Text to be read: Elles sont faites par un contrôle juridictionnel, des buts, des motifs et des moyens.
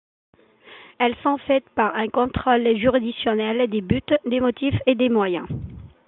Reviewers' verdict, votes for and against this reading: accepted, 2, 1